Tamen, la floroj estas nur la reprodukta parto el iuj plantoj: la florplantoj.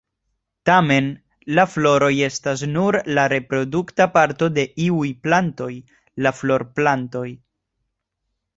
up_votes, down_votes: 2, 0